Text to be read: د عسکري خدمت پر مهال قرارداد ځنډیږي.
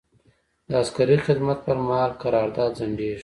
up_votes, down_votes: 2, 0